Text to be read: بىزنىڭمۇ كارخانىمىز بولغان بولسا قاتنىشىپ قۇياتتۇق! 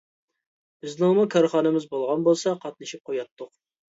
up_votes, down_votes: 2, 0